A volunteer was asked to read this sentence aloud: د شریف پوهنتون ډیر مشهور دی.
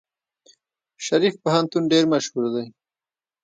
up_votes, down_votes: 1, 2